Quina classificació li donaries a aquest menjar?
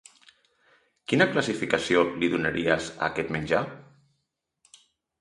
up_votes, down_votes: 3, 0